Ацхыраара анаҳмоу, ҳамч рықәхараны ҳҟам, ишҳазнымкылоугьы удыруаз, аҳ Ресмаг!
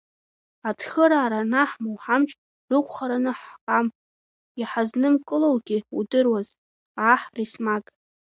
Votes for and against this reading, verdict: 2, 1, accepted